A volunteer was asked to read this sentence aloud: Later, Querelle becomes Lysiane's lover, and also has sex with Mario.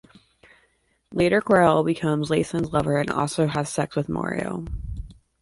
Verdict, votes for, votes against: accepted, 2, 1